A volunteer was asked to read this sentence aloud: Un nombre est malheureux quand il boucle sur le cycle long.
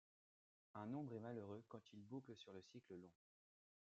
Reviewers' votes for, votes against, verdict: 2, 0, accepted